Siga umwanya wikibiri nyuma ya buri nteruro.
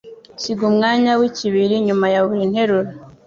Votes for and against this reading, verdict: 1, 2, rejected